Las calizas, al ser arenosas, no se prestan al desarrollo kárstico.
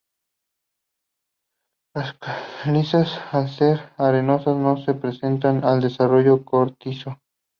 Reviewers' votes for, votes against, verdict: 2, 2, rejected